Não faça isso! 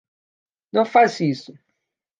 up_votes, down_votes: 1, 2